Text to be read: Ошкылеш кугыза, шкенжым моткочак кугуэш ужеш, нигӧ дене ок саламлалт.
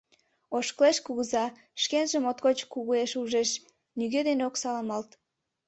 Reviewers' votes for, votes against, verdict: 0, 2, rejected